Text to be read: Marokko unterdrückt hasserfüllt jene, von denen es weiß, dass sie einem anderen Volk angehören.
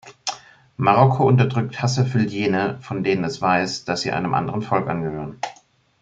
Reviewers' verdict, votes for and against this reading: accepted, 2, 0